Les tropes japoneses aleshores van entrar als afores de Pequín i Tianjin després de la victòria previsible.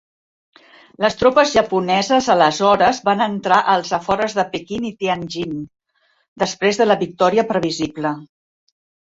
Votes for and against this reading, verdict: 1, 2, rejected